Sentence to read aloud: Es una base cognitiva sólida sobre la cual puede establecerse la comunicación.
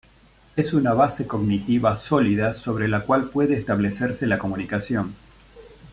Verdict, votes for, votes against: accepted, 2, 0